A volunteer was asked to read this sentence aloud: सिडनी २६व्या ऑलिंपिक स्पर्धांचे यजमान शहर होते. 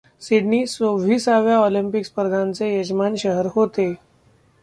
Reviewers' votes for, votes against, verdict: 0, 2, rejected